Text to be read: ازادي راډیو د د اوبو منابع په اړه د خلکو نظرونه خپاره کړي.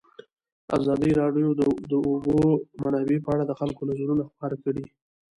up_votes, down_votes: 0, 2